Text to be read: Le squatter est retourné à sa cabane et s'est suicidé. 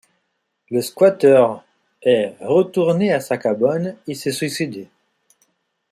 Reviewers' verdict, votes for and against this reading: accepted, 2, 0